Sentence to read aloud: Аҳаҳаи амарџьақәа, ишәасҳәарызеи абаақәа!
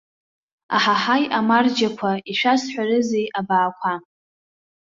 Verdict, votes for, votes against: accepted, 2, 0